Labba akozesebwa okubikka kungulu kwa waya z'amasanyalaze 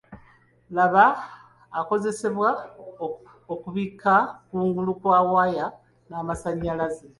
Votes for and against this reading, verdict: 2, 0, accepted